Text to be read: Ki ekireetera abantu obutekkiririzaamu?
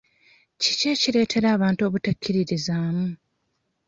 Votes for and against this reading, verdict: 1, 2, rejected